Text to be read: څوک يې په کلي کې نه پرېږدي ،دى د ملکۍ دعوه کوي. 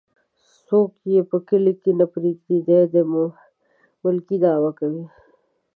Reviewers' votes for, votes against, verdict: 2, 0, accepted